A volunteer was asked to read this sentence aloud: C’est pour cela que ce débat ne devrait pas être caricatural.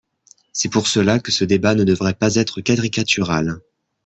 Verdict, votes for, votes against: rejected, 0, 2